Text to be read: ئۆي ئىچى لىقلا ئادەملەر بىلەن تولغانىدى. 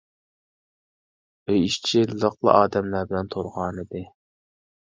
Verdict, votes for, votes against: rejected, 1, 2